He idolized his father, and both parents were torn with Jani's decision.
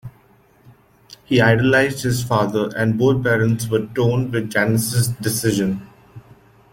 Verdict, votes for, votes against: rejected, 1, 2